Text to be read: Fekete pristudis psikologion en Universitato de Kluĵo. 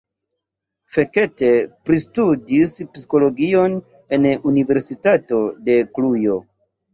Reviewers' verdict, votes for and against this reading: rejected, 0, 2